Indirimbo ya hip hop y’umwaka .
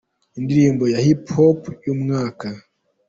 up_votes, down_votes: 2, 1